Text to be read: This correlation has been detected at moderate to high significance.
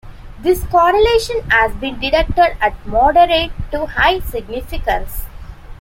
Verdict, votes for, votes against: accepted, 2, 0